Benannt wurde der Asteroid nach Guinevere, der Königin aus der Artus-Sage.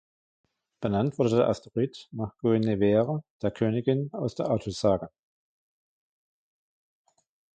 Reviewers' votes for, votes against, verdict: 0, 2, rejected